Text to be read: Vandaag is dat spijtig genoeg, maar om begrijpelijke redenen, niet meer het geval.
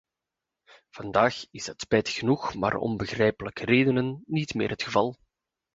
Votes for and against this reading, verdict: 2, 0, accepted